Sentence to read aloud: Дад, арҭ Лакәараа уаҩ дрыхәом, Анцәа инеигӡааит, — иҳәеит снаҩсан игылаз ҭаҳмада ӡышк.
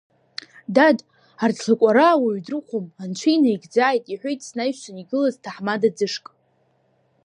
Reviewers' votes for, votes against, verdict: 1, 2, rejected